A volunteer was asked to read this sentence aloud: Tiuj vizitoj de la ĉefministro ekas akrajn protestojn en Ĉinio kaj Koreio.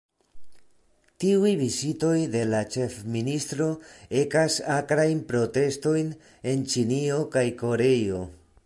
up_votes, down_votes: 1, 2